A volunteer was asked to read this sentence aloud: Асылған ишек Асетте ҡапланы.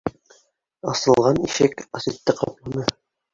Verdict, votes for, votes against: rejected, 1, 2